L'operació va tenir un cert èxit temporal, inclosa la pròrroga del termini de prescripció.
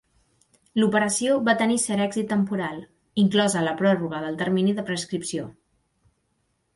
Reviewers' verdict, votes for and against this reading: rejected, 0, 2